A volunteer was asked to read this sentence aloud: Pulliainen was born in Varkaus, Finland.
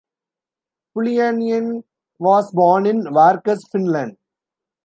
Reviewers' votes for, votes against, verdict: 2, 0, accepted